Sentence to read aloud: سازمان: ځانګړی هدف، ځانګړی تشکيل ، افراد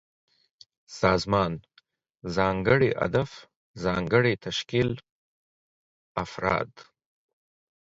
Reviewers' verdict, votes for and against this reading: accepted, 4, 0